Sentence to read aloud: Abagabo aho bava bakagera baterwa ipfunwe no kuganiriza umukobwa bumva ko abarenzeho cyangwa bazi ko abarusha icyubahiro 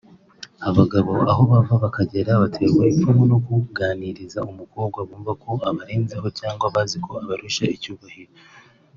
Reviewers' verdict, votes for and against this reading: accepted, 2, 0